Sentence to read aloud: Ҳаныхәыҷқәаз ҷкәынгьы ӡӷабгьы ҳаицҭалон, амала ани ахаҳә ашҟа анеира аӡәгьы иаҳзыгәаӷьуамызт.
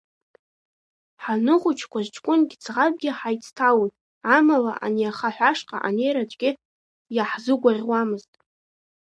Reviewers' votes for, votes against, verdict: 3, 0, accepted